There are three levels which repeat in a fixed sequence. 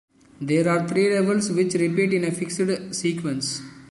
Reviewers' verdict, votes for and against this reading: rejected, 1, 2